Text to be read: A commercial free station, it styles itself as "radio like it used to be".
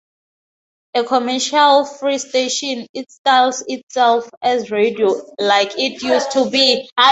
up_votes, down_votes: 0, 2